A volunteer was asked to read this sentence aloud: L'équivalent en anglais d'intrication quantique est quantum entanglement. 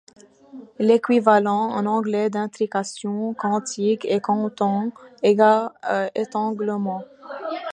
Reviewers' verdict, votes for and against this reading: rejected, 1, 2